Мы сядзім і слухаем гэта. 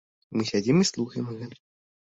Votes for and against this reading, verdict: 1, 2, rejected